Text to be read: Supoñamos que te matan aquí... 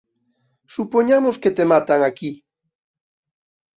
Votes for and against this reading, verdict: 2, 0, accepted